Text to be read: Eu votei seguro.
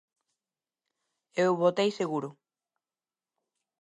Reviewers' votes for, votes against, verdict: 8, 0, accepted